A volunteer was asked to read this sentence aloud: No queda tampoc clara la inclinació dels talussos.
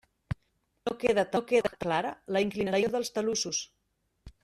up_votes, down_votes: 0, 2